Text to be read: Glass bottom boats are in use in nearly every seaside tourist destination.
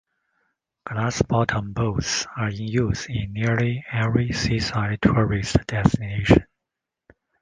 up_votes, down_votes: 2, 0